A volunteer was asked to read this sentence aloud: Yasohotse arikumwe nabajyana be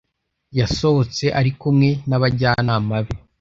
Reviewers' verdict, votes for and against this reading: rejected, 0, 2